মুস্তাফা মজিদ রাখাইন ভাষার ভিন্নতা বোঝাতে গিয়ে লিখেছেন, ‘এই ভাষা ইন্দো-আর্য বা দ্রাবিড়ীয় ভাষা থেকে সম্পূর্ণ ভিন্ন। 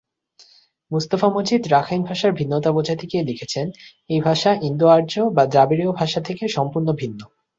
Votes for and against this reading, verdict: 30, 5, accepted